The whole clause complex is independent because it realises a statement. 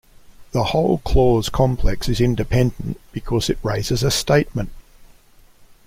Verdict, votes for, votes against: rejected, 0, 2